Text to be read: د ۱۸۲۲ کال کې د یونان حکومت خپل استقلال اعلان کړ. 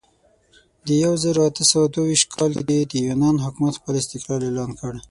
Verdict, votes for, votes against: rejected, 0, 2